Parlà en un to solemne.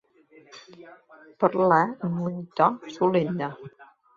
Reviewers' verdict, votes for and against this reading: accepted, 2, 0